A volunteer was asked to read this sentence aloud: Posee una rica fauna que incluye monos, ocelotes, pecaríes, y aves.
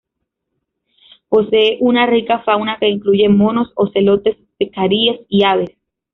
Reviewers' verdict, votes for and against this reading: accepted, 2, 0